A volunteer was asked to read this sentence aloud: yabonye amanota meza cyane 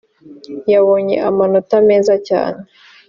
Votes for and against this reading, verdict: 2, 0, accepted